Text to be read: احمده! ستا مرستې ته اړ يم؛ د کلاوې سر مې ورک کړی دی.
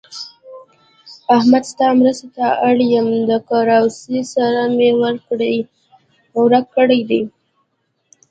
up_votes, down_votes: 2, 1